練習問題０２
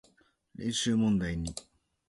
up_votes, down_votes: 0, 2